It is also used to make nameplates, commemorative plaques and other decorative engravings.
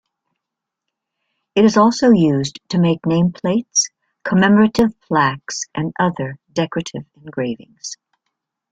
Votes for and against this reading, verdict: 3, 1, accepted